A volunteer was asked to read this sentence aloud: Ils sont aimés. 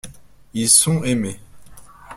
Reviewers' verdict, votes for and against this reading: rejected, 0, 2